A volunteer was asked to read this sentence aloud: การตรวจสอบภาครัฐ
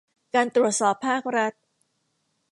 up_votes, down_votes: 2, 0